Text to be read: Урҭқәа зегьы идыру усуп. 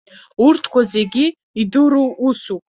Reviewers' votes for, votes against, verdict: 2, 3, rejected